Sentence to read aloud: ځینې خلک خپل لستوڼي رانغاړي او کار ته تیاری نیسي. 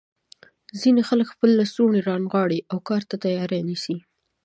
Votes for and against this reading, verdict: 2, 1, accepted